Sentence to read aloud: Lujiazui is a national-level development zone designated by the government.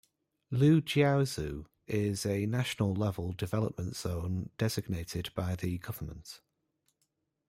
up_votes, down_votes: 0, 2